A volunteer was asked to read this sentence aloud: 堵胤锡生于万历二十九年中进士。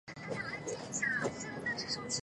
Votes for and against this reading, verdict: 1, 2, rejected